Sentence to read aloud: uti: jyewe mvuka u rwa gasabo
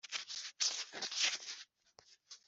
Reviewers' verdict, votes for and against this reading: rejected, 0, 2